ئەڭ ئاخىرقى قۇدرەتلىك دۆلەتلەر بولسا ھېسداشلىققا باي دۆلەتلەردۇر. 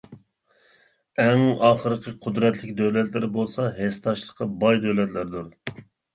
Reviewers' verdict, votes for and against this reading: accepted, 2, 0